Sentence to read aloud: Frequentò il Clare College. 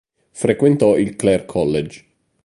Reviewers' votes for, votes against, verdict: 2, 0, accepted